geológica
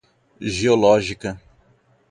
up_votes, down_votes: 4, 0